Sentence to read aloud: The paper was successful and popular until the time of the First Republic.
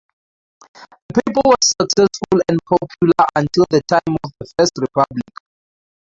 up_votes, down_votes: 0, 2